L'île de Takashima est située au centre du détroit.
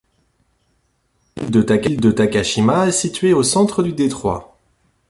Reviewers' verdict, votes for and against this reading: rejected, 0, 2